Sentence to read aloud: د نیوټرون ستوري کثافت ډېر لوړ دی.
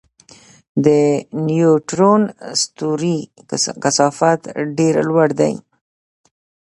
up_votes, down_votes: 2, 0